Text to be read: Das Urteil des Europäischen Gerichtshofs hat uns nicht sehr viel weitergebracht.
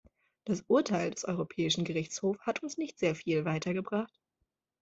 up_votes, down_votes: 2, 0